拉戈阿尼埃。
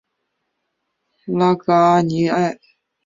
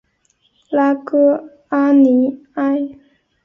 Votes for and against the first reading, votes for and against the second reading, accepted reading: 2, 1, 0, 2, first